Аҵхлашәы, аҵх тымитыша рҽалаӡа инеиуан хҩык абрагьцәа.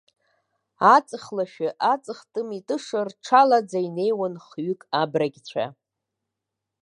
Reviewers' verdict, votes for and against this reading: accepted, 2, 0